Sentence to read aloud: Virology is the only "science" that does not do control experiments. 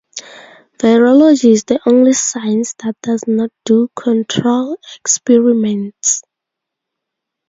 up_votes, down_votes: 4, 0